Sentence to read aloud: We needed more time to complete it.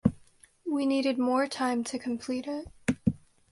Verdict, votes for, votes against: accepted, 2, 0